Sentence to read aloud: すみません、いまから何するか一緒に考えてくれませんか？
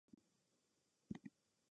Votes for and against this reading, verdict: 0, 2, rejected